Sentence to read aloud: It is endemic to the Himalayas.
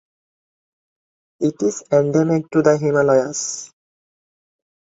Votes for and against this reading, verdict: 2, 0, accepted